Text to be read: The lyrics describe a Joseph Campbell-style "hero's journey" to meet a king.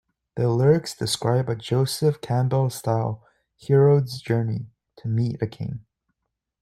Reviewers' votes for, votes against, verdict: 2, 0, accepted